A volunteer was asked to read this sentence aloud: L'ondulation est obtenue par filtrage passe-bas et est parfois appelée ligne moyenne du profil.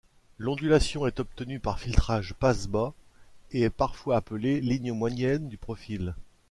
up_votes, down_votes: 2, 0